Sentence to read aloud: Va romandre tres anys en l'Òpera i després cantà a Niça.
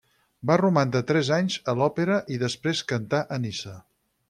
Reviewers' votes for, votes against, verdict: 0, 4, rejected